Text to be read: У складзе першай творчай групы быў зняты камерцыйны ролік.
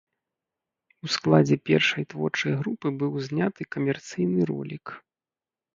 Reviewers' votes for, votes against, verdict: 2, 0, accepted